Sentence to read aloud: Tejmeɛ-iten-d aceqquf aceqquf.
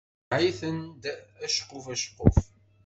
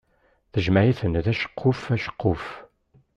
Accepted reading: second